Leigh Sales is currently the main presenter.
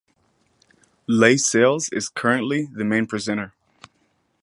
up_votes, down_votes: 4, 0